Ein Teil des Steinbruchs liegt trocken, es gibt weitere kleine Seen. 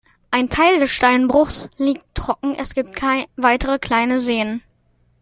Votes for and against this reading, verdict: 1, 2, rejected